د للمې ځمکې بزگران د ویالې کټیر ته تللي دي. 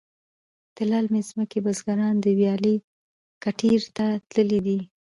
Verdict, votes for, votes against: accepted, 2, 0